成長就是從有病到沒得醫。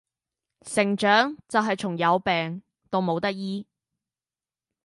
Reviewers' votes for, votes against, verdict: 0, 2, rejected